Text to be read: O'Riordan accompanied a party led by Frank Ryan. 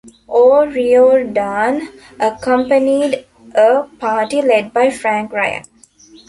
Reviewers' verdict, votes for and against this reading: accepted, 2, 1